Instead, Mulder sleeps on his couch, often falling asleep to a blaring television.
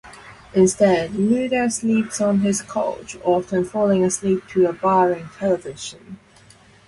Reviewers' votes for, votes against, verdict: 0, 2, rejected